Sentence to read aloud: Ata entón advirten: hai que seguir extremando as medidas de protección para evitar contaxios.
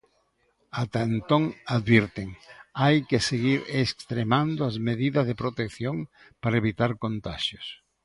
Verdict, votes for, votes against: accepted, 2, 0